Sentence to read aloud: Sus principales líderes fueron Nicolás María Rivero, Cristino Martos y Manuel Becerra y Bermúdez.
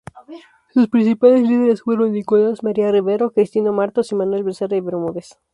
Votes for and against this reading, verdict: 2, 2, rejected